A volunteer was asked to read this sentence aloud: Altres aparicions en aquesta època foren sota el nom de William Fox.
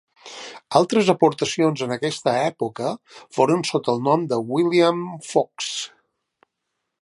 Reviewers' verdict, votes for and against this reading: rejected, 0, 2